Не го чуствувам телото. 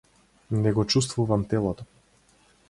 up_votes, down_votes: 4, 0